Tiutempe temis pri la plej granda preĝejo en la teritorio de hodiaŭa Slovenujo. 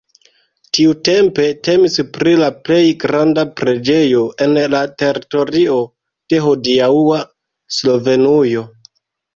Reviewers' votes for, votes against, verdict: 1, 2, rejected